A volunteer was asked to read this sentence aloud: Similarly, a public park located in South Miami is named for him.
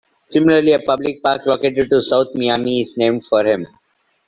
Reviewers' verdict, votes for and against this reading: rejected, 1, 2